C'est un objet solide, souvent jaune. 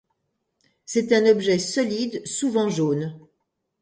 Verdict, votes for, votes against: accepted, 2, 0